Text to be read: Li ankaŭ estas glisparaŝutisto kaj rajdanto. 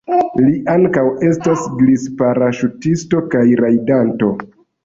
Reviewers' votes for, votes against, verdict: 2, 0, accepted